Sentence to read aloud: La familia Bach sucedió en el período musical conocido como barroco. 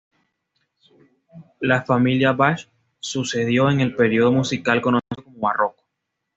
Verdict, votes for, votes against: rejected, 1, 2